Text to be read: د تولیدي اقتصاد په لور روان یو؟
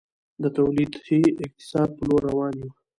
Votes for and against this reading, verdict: 1, 2, rejected